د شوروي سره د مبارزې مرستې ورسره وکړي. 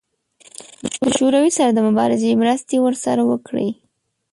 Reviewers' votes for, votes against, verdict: 1, 2, rejected